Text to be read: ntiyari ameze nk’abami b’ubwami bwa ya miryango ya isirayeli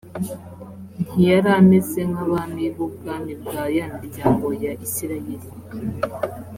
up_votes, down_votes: 2, 0